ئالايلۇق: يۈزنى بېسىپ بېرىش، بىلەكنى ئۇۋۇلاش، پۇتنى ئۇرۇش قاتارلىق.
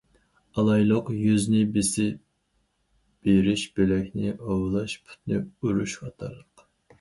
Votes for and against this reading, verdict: 2, 2, rejected